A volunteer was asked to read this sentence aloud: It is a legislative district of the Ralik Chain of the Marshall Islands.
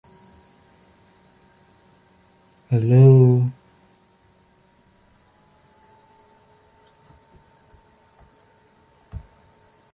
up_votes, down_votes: 0, 2